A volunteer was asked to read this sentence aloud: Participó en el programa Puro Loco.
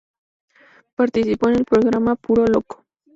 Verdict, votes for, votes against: rejected, 0, 4